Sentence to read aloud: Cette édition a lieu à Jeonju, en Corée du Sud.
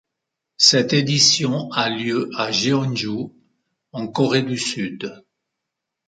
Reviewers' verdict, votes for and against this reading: accepted, 2, 0